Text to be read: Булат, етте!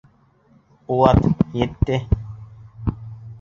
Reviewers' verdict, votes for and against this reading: rejected, 1, 2